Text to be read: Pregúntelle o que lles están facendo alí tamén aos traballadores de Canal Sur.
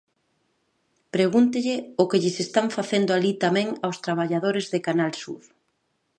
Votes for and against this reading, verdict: 2, 0, accepted